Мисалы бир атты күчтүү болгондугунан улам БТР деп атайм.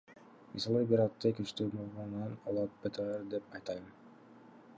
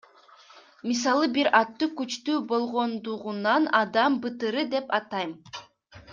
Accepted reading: first